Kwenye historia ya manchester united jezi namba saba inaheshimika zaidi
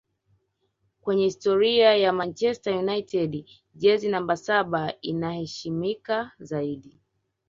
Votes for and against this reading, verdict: 1, 2, rejected